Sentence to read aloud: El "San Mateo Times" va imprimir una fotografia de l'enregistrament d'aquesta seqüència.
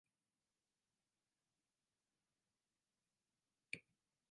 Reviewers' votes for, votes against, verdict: 0, 3, rejected